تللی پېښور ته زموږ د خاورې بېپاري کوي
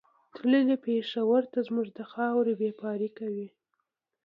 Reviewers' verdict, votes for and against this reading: accepted, 2, 0